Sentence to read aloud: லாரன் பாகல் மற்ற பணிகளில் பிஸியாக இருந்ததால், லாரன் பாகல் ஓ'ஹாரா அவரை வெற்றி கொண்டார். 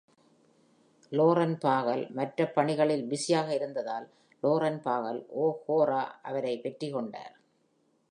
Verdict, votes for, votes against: rejected, 1, 2